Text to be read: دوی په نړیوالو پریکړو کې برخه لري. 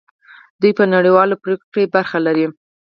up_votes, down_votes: 0, 4